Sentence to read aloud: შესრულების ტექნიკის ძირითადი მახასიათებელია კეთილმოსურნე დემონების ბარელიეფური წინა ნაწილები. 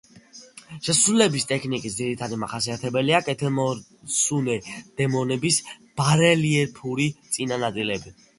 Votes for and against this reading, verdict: 2, 0, accepted